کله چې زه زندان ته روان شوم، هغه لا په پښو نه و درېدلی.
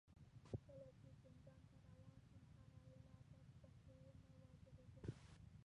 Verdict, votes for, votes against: rejected, 1, 2